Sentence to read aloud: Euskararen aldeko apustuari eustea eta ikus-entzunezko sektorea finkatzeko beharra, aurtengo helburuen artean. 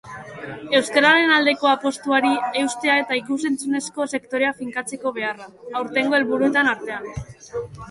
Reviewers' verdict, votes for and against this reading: accepted, 2, 0